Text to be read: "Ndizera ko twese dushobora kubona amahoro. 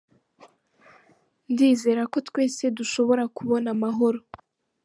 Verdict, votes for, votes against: rejected, 1, 2